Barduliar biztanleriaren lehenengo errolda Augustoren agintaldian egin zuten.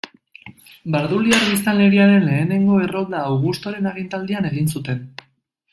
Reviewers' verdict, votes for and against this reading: accepted, 2, 0